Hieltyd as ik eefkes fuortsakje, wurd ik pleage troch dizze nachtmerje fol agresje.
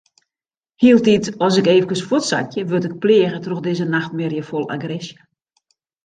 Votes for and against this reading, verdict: 1, 2, rejected